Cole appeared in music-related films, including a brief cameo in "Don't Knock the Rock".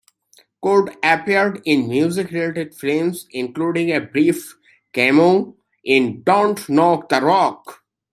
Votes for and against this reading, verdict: 2, 0, accepted